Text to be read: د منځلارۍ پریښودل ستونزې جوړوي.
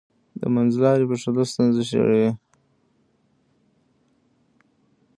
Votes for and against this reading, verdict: 0, 2, rejected